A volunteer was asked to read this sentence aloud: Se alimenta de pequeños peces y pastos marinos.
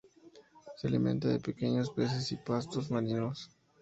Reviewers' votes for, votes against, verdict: 2, 2, rejected